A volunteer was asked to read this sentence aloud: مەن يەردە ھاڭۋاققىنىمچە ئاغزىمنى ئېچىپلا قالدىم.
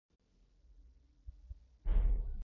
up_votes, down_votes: 0, 2